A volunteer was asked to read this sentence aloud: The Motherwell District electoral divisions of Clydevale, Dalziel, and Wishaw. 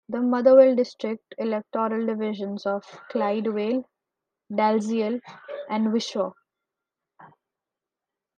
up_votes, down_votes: 2, 1